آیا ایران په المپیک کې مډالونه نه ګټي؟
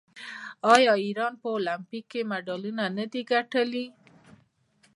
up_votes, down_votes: 2, 0